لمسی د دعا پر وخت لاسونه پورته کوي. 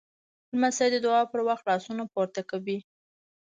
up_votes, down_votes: 0, 2